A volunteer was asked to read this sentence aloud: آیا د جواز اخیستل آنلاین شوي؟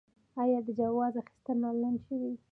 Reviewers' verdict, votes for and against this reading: accepted, 2, 0